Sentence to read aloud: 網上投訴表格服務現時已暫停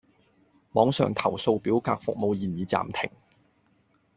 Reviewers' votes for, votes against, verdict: 0, 2, rejected